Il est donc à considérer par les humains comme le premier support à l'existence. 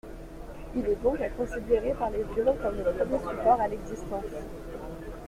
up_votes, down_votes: 1, 2